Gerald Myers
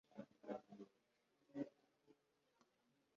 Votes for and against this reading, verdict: 0, 2, rejected